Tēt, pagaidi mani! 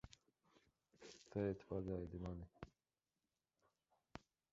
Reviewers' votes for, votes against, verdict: 1, 2, rejected